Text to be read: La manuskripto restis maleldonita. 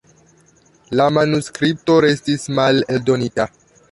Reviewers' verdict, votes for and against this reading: accepted, 2, 0